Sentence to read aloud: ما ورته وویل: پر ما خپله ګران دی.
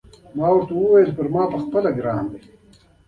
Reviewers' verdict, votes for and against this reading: accepted, 2, 0